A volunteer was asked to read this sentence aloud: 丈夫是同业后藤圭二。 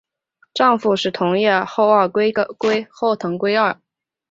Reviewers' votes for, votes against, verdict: 0, 2, rejected